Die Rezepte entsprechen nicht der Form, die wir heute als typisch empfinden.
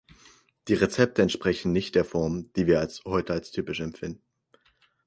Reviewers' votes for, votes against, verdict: 0, 4, rejected